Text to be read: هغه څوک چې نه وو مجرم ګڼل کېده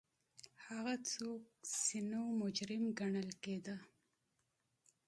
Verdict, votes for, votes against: accepted, 2, 0